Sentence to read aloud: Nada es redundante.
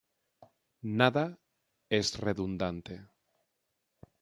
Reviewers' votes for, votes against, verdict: 3, 0, accepted